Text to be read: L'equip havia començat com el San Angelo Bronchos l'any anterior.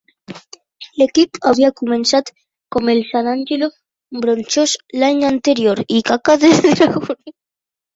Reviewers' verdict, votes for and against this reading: rejected, 0, 2